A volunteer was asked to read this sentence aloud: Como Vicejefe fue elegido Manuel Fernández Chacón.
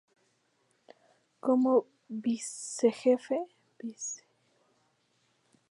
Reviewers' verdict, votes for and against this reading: rejected, 0, 2